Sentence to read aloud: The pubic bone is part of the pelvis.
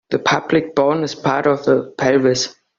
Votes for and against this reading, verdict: 0, 2, rejected